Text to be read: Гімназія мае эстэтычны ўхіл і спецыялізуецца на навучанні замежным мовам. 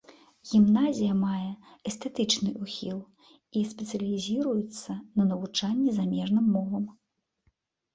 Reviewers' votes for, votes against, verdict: 0, 2, rejected